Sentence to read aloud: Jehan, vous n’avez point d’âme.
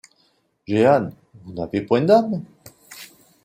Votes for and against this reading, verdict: 0, 2, rejected